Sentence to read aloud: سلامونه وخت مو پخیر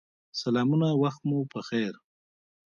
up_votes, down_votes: 0, 2